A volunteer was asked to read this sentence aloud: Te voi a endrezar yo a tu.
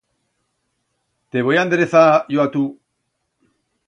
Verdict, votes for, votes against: accepted, 2, 0